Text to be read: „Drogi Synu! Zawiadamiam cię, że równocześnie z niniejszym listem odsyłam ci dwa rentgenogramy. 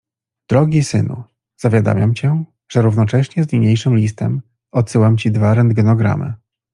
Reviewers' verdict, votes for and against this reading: accepted, 2, 0